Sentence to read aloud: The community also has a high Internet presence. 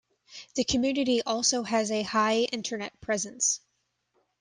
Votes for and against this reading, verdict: 2, 0, accepted